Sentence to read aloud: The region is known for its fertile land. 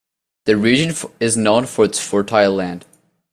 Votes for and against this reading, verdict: 2, 0, accepted